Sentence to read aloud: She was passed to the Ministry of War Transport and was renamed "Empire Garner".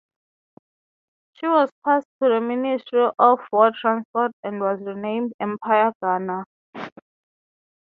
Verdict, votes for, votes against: accepted, 3, 0